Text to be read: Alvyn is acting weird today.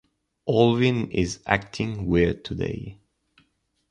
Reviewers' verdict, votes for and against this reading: accepted, 2, 0